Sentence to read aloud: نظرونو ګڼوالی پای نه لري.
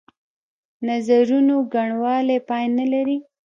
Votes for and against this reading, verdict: 0, 2, rejected